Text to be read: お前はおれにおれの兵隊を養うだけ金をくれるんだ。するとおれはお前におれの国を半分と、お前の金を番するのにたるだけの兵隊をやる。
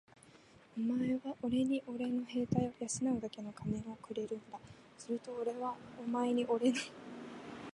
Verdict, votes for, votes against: rejected, 3, 4